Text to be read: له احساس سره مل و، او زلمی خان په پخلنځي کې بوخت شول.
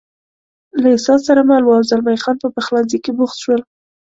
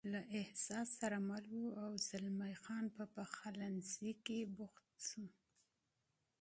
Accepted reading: first